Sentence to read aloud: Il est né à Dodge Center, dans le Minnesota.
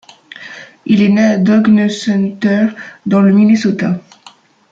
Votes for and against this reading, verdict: 1, 2, rejected